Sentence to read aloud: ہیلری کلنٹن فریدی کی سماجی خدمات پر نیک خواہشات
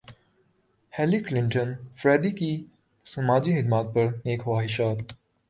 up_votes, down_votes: 0, 2